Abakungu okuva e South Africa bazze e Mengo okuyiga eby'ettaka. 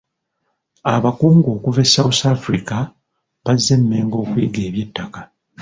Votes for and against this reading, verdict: 0, 2, rejected